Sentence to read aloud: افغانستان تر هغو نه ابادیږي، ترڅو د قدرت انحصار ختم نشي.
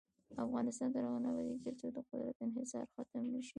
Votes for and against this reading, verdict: 1, 2, rejected